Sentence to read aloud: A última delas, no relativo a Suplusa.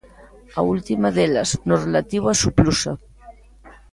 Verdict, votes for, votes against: accepted, 2, 0